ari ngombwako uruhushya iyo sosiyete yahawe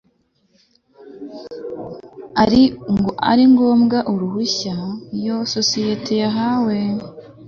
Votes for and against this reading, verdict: 2, 0, accepted